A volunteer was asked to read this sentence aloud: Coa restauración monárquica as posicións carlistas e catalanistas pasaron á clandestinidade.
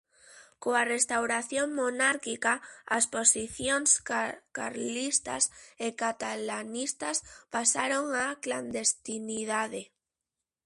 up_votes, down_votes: 0, 2